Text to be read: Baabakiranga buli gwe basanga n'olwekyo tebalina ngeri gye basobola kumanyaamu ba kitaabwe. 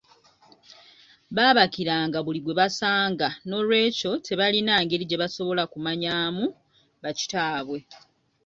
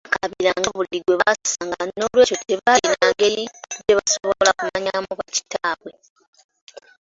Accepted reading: first